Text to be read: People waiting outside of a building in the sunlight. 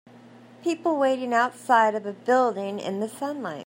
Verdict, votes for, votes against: accepted, 2, 0